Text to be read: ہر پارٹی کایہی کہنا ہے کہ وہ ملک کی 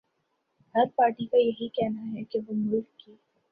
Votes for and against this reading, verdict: 0, 2, rejected